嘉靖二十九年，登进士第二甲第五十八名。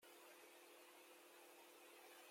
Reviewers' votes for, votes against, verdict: 0, 2, rejected